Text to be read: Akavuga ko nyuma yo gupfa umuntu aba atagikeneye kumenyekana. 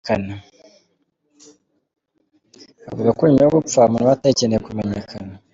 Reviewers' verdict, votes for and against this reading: rejected, 0, 2